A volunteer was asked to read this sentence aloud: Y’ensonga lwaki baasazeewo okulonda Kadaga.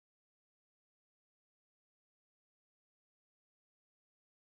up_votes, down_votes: 0, 2